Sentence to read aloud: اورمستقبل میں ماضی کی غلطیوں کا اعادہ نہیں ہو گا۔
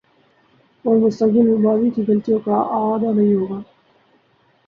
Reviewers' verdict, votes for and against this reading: accepted, 2, 0